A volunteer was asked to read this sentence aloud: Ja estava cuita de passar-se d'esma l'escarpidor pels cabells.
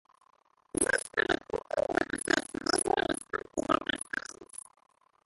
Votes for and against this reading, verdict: 1, 2, rejected